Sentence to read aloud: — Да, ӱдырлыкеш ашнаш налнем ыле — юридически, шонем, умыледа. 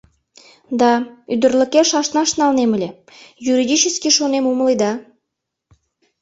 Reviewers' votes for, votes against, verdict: 2, 0, accepted